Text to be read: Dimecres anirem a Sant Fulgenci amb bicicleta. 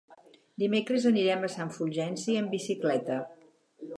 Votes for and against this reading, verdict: 6, 0, accepted